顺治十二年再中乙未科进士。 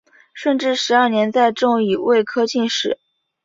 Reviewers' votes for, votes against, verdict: 2, 0, accepted